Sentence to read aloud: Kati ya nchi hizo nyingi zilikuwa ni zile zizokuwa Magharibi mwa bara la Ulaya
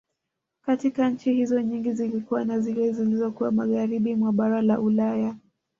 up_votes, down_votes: 2, 0